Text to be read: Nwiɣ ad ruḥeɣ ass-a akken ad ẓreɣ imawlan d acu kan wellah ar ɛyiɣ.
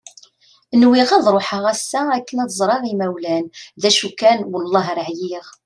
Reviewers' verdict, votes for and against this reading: accepted, 2, 0